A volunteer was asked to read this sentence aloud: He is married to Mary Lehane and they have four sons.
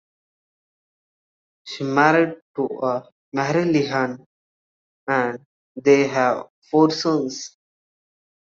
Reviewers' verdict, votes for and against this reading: rejected, 1, 2